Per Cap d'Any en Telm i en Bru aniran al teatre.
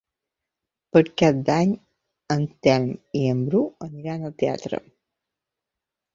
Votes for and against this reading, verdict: 2, 0, accepted